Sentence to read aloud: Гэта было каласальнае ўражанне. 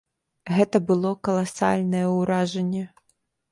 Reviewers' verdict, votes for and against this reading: accepted, 2, 0